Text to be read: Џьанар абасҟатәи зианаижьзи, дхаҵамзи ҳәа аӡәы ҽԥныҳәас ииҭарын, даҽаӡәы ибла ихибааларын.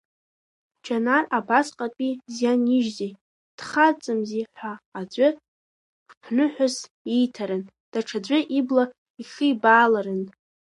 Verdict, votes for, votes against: rejected, 0, 3